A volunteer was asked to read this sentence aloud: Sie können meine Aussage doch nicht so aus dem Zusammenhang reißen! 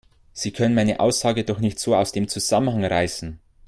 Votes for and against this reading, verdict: 1, 2, rejected